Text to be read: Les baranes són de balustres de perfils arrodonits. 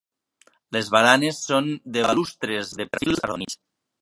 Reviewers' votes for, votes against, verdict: 1, 2, rejected